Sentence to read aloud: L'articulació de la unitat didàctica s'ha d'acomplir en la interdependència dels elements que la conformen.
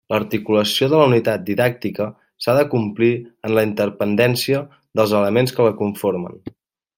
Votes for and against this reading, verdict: 1, 2, rejected